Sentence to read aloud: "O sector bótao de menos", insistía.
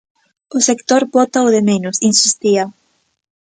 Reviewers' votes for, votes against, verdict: 2, 0, accepted